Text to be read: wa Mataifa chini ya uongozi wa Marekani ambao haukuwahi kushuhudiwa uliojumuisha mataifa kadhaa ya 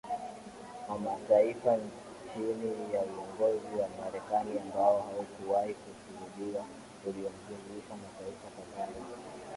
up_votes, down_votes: 1, 2